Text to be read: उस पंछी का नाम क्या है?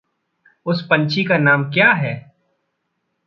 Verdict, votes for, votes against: accepted, 2, 0